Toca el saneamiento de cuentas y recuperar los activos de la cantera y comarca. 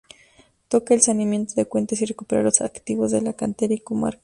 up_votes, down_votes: 2, 0